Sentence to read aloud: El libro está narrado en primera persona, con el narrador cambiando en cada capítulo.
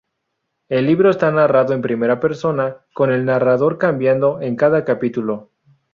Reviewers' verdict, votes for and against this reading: accepted, 2, 0